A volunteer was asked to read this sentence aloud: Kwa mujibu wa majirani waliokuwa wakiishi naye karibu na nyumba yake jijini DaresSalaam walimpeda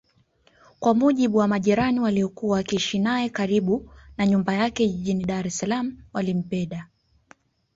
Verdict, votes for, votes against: accepted, 2, 0